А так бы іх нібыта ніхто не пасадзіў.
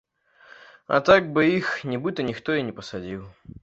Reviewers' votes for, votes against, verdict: 1, 2, rejected